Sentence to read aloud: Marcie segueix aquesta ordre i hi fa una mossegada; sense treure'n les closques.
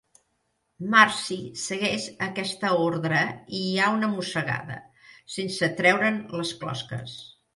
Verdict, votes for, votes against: rejected, 0, 2